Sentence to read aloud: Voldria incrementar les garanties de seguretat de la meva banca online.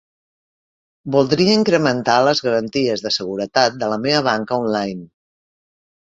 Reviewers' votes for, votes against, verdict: 3, 0, accepted